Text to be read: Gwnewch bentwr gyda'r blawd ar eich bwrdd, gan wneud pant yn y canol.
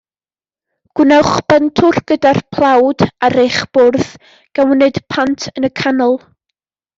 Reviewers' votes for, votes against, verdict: 1, 2, rejected